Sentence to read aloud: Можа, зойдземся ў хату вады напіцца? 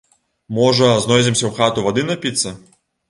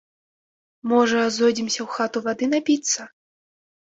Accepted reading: second